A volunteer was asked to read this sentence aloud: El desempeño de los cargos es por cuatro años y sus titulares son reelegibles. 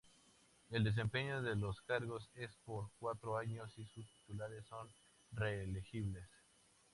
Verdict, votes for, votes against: accepted, 2, 0